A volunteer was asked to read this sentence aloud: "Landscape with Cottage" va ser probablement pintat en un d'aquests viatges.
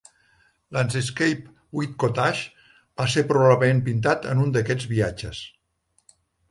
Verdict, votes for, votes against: rejected, 0, 2